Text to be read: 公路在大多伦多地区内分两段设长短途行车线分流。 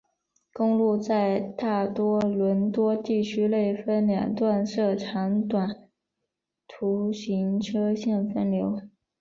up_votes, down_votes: 2, 0